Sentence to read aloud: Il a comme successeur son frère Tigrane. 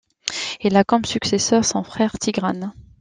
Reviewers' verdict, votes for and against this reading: accepted, 2, 0